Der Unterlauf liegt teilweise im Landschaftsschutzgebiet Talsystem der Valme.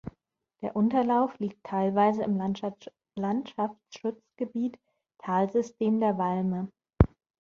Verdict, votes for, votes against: rejected, 1, 2